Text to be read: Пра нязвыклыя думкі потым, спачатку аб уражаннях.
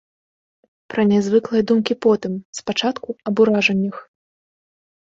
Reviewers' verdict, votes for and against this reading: accepted, 2, 0